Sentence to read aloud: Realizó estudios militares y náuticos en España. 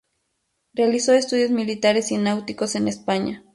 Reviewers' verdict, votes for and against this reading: accepted, 2, 0